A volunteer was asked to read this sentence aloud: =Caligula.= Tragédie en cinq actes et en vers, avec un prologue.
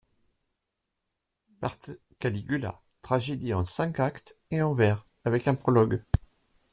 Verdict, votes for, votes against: rejected, 0, 2